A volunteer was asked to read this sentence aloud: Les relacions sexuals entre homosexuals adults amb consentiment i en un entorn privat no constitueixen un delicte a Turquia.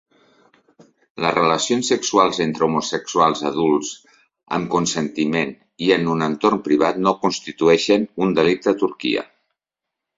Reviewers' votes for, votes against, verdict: 2, 0, accepted